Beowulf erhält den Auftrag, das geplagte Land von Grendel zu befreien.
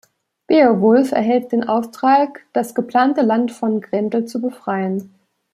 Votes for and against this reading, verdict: 1, 2, rejected